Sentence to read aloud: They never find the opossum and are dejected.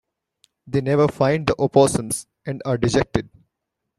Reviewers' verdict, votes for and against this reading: rejected, 1, 2